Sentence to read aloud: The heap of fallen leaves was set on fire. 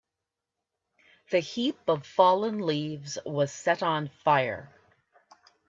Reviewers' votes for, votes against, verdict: 2, 0, accepted